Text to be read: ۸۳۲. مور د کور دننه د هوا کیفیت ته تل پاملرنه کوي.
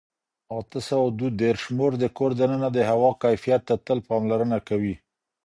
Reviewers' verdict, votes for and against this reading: rejected, 0, 2